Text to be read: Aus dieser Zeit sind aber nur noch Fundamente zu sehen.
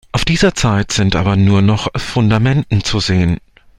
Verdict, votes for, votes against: rejected, 0, 2